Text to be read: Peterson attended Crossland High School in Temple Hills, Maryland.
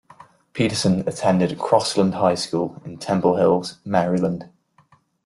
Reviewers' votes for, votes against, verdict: 3, 0, accepted